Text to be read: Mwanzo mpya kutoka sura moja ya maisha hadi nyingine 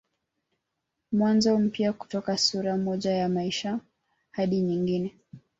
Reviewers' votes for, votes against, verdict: 2, 0, accepted